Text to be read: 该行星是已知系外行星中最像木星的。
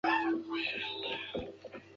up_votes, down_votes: 1, 3